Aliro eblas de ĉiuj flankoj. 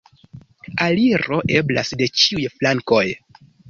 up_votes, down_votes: 2, 0